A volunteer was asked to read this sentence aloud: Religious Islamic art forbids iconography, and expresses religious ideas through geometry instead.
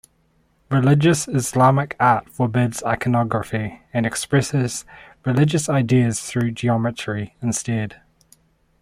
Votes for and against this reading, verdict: 2, 0, accepted